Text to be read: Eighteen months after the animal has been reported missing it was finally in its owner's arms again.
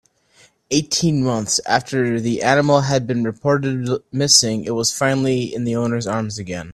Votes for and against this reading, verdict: 0, 2, rejected